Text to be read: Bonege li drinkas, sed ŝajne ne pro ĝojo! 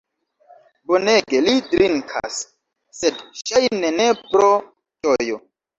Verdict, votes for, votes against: rejected, 1, 2